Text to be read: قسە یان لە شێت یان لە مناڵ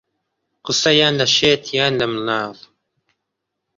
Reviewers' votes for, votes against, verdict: 2, 0, accepted